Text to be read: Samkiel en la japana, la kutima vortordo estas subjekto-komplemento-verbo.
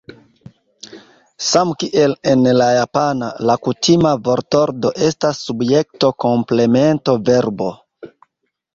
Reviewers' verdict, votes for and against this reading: accepted, 2, 1